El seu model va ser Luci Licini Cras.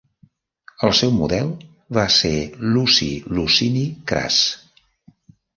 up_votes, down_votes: 1, 2